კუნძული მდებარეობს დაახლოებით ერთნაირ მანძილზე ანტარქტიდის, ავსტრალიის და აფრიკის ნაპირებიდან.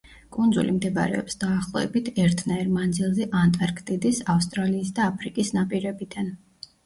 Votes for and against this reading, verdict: 0, 2, rejected